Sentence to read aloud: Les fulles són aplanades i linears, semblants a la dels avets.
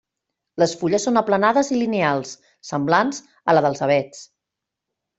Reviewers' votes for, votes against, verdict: 1, 2, rejected